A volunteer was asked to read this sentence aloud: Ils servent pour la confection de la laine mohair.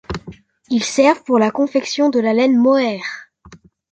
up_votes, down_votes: 2, 0